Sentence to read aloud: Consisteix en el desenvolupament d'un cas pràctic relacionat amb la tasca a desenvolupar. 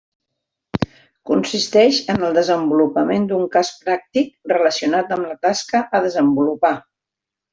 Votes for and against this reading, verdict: 3, 0, accepted